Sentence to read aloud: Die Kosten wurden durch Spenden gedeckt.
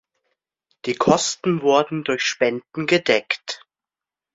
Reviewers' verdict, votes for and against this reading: accepted, 2, 0